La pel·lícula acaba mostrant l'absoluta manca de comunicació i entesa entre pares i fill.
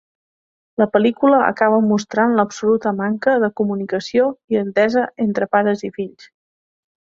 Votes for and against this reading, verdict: 3, 0, accepted